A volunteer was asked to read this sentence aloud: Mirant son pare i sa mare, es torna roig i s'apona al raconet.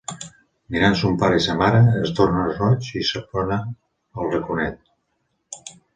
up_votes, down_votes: 2, 0